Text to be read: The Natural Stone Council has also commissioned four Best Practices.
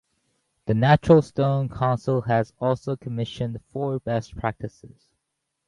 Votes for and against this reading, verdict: 2, 2, rejected